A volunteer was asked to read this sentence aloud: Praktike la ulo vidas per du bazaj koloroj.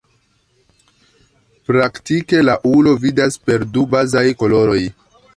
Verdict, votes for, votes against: rejected, 0, 2